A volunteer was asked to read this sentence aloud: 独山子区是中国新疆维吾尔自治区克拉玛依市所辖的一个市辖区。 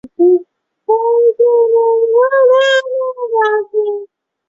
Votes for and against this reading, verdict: 0, 3, rejected